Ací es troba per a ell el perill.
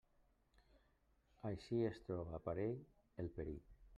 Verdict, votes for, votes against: rejected, 1, 2